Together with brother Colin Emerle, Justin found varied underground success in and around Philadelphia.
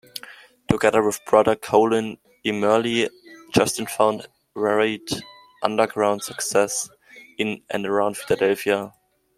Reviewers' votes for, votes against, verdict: 2, 0, accepted